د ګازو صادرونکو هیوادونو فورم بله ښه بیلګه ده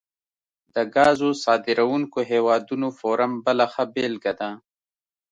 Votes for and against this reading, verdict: 2, 0, accepted